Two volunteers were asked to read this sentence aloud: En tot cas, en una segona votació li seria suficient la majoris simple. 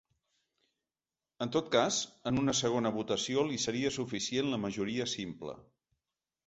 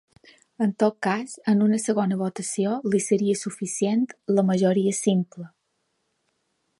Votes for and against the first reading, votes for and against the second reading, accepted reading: 1, 3, 2, 0, second